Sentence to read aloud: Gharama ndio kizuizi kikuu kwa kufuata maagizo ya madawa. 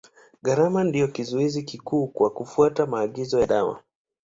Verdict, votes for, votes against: accepted, 2, 0